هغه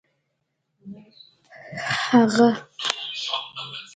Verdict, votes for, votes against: accepted, 2, 0